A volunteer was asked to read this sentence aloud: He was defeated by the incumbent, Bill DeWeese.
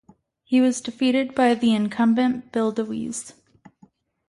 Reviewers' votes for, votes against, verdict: 2, 0, accepted